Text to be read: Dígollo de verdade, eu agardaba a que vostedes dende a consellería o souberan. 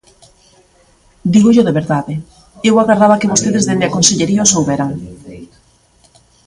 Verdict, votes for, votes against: rejected, 1, 2